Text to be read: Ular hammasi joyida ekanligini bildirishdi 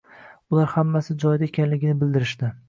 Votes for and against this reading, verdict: 2, 0, accepted